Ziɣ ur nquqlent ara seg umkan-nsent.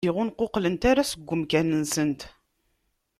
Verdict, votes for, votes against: rejected, 1, 2